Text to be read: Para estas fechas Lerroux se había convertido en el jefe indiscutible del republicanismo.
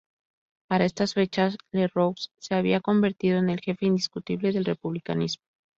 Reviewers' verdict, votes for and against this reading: accepted, 2, 0